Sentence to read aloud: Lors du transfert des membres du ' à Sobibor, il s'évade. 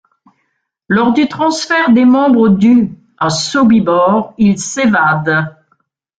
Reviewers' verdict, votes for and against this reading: accepted, 2, 1